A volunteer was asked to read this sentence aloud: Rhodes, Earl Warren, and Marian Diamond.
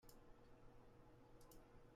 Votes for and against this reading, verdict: 0, 2, rejected